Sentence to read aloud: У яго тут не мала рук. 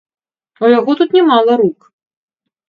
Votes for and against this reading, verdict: 1, 2, rejected